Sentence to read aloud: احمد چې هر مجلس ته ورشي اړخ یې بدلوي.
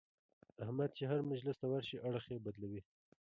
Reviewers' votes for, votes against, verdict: 2, 0, accepted